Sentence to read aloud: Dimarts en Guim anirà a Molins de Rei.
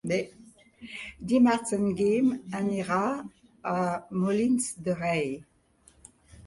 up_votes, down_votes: 3, 2